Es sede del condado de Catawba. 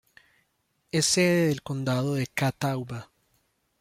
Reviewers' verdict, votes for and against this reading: accepted, 2, 0